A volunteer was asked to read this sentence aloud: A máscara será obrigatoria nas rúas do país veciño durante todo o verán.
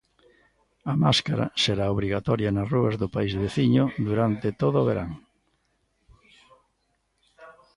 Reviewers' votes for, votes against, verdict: 1, 2, rejected